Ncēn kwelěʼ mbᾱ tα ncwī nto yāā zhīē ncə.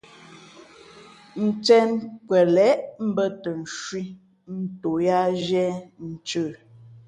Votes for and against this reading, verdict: 2, 0, accepted